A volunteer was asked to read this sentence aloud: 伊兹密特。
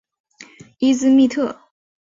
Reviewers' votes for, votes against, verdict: 4, 0, accepted